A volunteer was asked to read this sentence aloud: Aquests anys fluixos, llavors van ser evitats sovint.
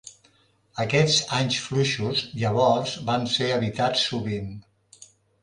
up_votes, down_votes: 2, 0